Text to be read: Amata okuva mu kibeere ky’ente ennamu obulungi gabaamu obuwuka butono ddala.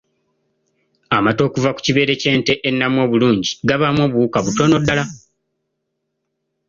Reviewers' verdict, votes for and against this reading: accepted, 2, 0